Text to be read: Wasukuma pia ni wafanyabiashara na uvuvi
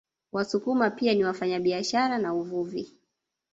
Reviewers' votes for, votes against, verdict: 1, 2, rejected